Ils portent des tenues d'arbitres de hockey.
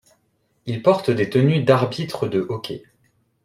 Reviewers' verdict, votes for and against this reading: accepted, 2, 0